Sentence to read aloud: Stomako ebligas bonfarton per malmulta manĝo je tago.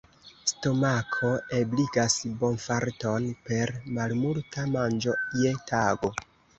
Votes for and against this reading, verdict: 1, 2, rejected